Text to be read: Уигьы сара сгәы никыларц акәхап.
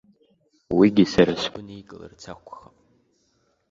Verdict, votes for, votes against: rejected, 0, 2